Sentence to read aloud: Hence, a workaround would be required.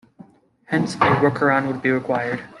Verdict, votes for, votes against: accepted, 2, 0